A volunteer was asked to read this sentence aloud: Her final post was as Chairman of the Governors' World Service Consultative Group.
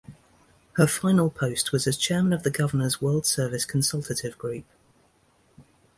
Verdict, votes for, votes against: rejected, 1, 2